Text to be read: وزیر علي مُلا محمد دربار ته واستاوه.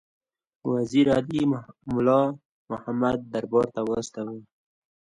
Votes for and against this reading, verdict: 2, 0, accepted